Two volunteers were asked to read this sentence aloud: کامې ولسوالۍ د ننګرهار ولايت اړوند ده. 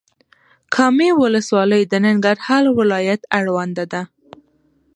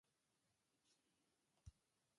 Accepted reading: first